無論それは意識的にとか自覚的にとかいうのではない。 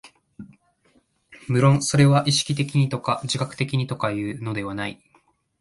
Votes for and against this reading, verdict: 2, 0, accepted